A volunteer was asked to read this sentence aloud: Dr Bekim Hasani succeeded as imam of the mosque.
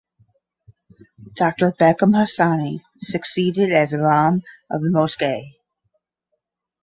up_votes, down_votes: 5, 5